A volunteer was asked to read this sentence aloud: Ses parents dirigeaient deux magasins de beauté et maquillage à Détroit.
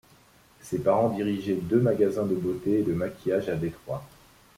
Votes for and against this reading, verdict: 0, 2, rejected